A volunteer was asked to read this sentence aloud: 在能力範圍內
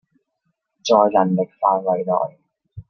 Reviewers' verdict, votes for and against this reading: rejected, 0, 2